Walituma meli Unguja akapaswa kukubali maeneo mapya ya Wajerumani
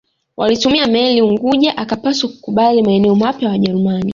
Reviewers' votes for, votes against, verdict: 1, 2, rejected